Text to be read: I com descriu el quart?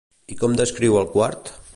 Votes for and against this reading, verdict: 2, 0, accepted